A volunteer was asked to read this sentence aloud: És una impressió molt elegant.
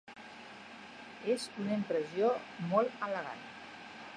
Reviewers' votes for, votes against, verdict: 1, 3, rejected